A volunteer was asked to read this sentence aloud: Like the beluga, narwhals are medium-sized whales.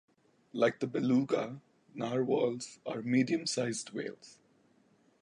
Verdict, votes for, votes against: accepted, 2, 1